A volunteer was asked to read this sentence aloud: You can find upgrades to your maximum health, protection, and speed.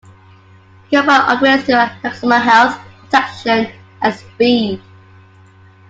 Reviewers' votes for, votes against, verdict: 0, 2, rejected